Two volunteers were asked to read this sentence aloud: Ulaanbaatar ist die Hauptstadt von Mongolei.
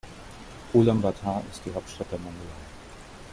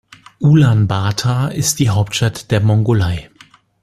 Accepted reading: second